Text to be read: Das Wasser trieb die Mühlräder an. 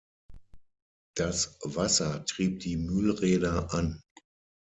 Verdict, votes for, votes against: accepted, 6, 0